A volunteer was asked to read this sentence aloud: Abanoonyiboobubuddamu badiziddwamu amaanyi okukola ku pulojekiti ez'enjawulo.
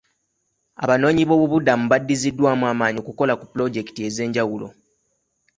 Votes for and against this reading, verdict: 2, 0, accepted